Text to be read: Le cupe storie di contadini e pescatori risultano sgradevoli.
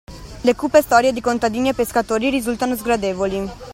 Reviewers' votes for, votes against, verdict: 2, 0, accepted